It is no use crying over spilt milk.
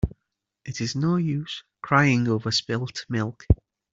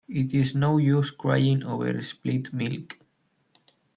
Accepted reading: first